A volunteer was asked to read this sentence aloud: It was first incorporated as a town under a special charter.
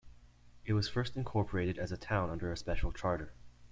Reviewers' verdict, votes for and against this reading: accepted, 2, 0